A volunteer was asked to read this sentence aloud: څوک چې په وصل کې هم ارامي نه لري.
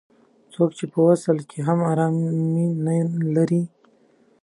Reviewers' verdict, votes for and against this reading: rejected, 1, 2